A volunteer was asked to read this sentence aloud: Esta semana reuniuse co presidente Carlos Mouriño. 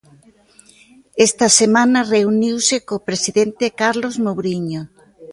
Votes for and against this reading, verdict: 2, 0, accepted